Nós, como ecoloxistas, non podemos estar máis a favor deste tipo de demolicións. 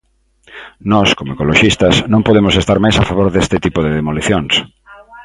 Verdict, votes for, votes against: rejected, 0, 2